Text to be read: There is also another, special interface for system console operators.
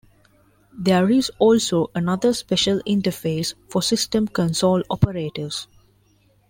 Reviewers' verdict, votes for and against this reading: accepted, 2, 1